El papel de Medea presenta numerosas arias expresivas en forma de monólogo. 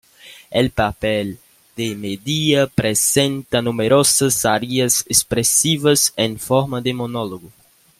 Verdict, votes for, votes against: accepted, 2, 0